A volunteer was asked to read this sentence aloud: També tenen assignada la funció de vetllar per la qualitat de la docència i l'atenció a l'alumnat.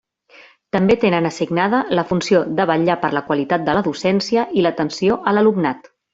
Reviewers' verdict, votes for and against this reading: accepted, 2, 0